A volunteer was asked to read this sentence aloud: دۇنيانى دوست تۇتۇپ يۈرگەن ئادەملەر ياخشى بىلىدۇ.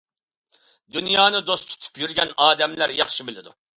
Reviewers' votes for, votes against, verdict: 2, 0, accepted